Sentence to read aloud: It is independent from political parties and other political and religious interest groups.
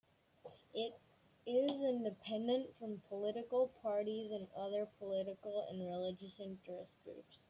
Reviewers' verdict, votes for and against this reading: rejected, 0, 2